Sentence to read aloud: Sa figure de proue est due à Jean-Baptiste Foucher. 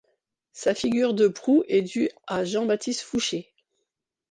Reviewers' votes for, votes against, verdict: 2, 0, accepted